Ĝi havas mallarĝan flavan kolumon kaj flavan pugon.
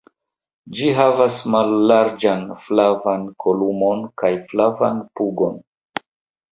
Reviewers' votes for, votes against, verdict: 3, 0, accepted